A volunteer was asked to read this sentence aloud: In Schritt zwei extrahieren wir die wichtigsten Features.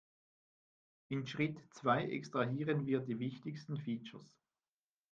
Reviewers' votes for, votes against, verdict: 2, 0, accepted